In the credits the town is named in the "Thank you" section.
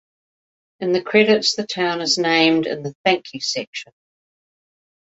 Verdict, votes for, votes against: accepted, 2, 0